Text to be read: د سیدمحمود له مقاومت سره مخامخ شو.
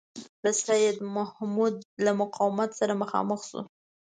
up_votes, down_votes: 2, 0